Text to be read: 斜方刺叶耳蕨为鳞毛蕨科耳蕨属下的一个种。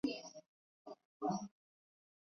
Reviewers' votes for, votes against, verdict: 0, 2, rejected